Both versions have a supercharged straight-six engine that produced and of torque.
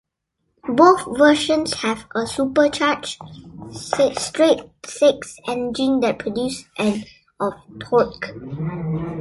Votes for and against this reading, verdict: 2, 1, accepted